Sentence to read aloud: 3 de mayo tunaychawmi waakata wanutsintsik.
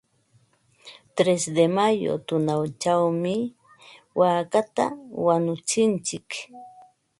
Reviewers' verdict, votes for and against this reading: rejected, 0, 2